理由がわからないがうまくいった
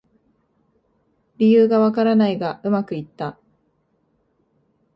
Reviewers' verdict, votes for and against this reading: accepted, 2, 0